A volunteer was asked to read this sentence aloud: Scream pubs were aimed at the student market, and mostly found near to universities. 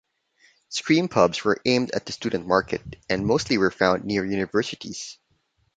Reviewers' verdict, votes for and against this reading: rejected, 1, 2